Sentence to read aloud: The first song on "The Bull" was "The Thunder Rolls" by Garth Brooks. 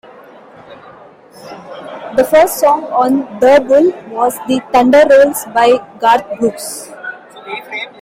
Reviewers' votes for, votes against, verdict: 3, 0, accepted